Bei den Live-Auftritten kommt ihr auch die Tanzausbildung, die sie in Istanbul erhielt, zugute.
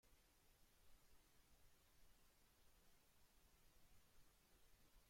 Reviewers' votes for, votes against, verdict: 0, 2, rejected